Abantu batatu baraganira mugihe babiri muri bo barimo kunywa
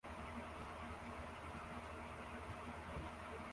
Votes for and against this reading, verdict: 0, 2, rejected